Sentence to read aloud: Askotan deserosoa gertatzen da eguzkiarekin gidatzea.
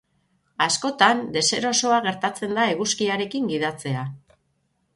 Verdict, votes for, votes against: rejected, 0, 6